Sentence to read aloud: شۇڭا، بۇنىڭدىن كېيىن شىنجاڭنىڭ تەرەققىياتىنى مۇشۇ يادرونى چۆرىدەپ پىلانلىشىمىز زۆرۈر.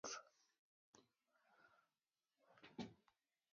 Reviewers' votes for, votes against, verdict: 0, 2, rejected